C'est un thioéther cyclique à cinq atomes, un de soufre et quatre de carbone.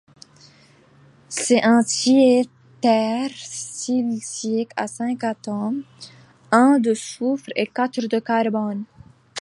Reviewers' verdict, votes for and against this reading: rejected, 0, 2